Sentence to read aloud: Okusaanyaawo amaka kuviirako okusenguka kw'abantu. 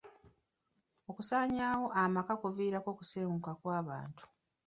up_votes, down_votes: 1, 2